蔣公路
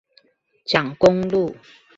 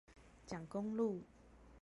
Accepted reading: first